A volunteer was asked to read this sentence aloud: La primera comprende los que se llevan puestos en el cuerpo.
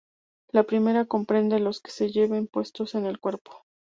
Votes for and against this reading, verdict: 0, 2, rejected